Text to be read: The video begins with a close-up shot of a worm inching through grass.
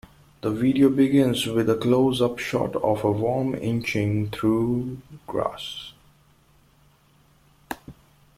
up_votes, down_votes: 2, 0